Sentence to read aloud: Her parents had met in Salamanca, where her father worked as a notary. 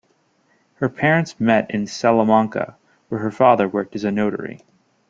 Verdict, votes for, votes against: rejected, 0, 2